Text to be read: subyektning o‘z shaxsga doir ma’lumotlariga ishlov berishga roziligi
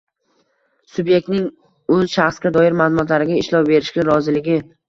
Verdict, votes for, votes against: rejected, 1, 2